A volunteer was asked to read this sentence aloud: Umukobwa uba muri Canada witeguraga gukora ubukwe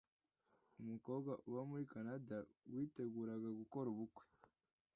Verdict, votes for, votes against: accepted, 2, 0